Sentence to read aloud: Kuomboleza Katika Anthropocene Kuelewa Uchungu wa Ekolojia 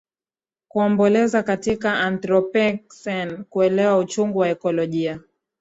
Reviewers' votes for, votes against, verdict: 2, 0, accepted